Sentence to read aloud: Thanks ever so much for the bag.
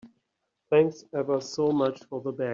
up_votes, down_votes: 3, 0